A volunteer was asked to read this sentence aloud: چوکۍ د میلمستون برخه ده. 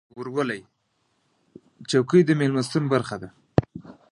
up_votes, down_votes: 0, 2